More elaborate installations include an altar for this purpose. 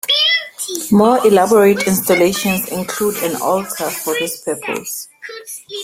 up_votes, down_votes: 1, 2